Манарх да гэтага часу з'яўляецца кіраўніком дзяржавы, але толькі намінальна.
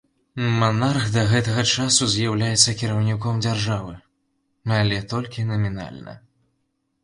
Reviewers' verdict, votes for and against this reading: accepted, 2, 0